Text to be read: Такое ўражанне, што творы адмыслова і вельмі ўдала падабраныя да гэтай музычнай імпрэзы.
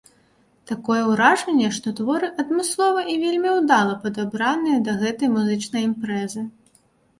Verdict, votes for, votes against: accepted, 2, 0